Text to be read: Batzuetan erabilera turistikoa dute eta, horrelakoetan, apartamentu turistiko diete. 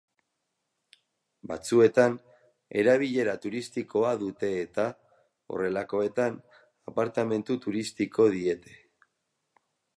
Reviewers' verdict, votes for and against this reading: accepted, 4, 0